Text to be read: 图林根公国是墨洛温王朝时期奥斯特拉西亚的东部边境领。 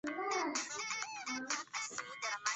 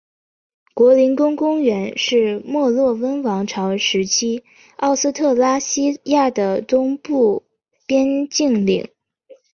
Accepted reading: second